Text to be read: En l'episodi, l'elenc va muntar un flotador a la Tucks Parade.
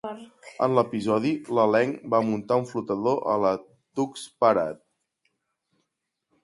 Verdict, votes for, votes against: accepted, 2, 0